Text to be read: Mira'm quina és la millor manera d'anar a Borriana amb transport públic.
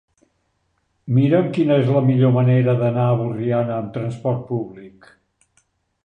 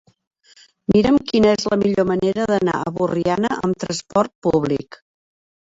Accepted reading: first